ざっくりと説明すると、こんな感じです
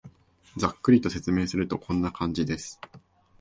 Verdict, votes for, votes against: accepted, 2, 0